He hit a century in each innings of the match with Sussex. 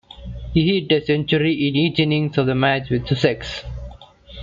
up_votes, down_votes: 1, 2